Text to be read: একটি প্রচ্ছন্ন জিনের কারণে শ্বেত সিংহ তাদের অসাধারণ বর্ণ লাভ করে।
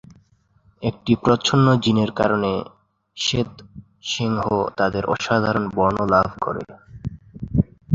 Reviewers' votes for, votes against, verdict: 2, 0, accepted